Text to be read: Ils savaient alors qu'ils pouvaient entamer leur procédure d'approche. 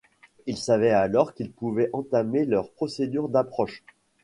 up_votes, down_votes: 2, 0